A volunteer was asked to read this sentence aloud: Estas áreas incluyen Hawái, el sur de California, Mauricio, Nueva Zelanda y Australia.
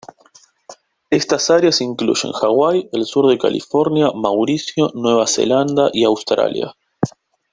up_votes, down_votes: 2, 1